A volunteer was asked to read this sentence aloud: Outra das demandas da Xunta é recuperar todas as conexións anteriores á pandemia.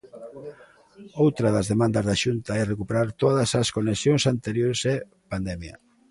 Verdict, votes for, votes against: rejected, 0, 2